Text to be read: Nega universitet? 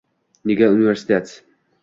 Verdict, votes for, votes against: accepted, 2, 1